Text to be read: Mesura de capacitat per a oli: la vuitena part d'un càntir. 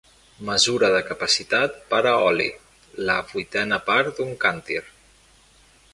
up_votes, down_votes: 2, 0